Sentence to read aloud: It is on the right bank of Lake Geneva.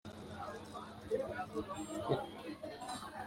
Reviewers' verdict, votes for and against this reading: rejected, 0, 2